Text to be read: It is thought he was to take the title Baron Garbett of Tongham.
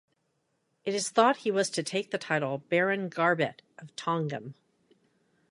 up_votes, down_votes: 2, 0